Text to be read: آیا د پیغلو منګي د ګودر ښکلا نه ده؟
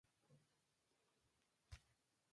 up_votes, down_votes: 0, 2